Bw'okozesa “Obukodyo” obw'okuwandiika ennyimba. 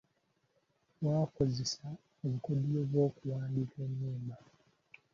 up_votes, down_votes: 0, 2